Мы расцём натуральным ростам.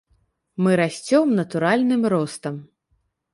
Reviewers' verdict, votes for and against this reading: accepted, 2, 0